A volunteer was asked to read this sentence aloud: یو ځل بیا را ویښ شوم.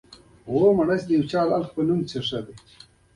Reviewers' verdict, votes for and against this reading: rejected, 1, 2